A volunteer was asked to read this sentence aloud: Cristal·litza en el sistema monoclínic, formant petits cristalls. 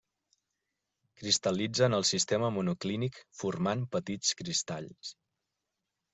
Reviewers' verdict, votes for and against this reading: accepted, 2, 0